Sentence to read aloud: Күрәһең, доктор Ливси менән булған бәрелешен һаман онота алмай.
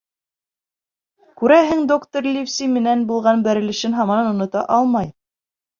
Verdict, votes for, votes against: accepted, 2, 0